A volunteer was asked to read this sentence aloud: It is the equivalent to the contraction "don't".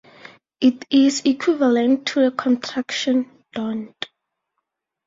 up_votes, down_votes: 4, 0